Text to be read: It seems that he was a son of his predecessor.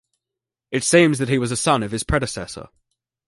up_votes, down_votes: 2, 0